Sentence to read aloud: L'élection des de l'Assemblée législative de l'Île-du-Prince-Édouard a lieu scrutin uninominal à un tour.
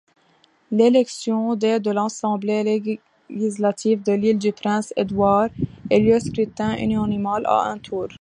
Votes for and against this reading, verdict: 0, 2, rejected